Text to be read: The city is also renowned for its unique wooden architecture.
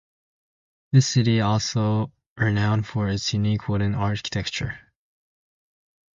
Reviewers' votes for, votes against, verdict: 0, 2, rejected